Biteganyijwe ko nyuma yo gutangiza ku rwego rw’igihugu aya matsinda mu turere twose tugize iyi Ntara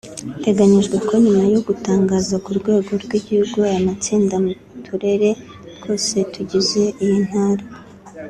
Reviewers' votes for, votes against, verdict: 1, 3, rejected